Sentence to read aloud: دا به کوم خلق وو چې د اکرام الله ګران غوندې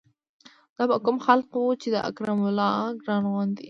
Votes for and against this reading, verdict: 2, 0, accepted